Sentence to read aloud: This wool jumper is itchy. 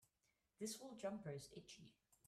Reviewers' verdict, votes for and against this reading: rejected, 1, 3